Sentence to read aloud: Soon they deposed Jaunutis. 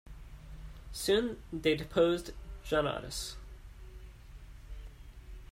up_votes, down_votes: 0, 2